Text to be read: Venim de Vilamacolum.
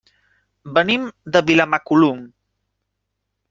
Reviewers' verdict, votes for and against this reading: accepted, 3, 0